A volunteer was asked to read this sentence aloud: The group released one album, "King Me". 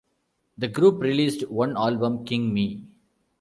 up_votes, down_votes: 2, 0